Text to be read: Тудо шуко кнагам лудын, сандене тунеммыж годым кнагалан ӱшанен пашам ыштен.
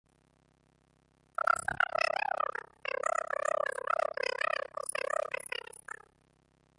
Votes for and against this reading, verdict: 0, 2, rejected